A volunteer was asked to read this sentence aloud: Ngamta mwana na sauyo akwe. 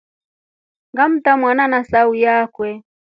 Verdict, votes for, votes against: accepted, 2, 1